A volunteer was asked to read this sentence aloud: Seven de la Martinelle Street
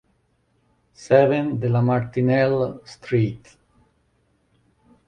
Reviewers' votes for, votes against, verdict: 2, 0, accepted